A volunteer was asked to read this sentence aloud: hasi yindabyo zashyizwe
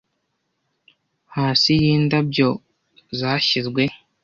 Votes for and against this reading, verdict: 2, 0, accepted